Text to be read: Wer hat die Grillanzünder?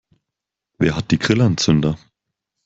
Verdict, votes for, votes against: accepted, 2, 0